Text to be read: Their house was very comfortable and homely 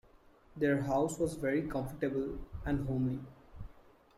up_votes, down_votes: 2, 1